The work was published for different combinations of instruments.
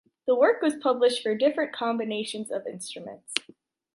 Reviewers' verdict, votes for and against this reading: accepted, 2, 0